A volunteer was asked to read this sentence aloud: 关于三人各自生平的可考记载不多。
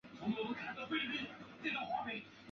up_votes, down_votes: 1, 3